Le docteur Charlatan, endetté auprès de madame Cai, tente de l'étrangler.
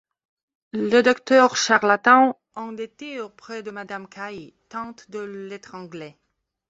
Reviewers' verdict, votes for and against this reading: accepted, 2, 1